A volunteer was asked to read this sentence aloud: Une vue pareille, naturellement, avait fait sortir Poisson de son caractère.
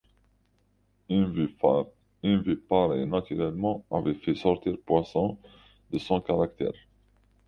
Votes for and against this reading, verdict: 0, 2, rejected